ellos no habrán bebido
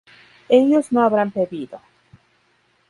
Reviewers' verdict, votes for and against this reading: rejected, 2, 2